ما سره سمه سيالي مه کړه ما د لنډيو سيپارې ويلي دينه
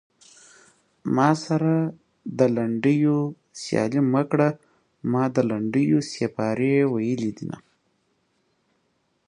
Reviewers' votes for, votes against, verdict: 1, 2, rejected